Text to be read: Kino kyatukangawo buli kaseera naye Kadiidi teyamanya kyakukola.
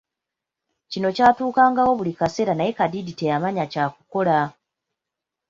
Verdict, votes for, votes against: rejected, 1, 2